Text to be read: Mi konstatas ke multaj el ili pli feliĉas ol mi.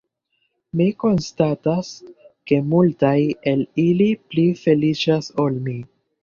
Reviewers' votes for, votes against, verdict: 2, 0, accepted